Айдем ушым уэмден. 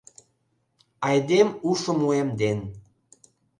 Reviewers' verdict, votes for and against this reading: accepted, 2, 0